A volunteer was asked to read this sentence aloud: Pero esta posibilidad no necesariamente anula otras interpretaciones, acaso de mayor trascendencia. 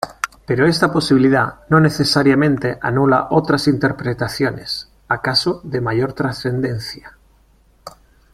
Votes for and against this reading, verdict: 2, 0, accepted